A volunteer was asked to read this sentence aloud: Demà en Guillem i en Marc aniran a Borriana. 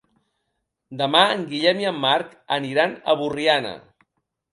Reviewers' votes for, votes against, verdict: 3, 1, accepted